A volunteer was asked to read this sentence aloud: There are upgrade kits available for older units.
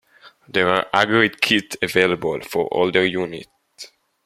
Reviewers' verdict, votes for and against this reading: rejected, 0, 2